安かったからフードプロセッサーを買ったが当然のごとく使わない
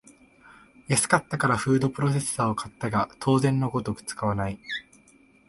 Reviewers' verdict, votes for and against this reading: accepted, 2, 0